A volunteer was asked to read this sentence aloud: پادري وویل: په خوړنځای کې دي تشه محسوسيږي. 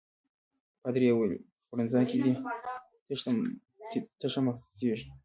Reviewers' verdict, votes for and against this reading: rejected, 1, 2